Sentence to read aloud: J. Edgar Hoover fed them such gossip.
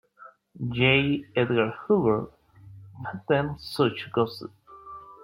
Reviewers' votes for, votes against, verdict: 0, 2, rejected